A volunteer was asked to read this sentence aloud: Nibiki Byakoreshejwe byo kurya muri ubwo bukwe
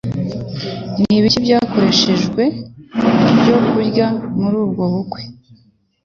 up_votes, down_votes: 2, 0